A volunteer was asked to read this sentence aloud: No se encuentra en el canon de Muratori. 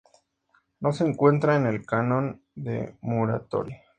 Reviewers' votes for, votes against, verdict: 4, 0, accepted